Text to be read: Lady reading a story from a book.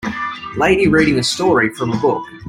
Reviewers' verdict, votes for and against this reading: accepted, 2, 0